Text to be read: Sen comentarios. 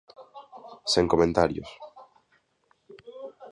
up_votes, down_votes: 0, 2